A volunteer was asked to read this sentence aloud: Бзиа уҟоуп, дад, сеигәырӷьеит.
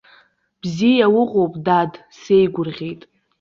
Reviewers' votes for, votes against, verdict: 2, 0, accepted